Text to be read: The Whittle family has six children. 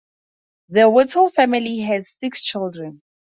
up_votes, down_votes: 4, 0